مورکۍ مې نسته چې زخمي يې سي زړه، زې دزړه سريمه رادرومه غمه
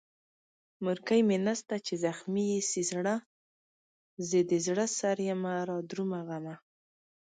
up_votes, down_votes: 3, 0